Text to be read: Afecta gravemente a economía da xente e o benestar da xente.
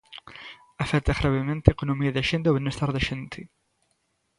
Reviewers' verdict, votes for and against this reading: accepted, 2, 0